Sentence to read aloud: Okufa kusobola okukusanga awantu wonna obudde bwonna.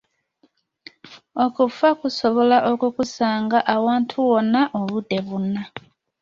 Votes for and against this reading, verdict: 2, 0, accepted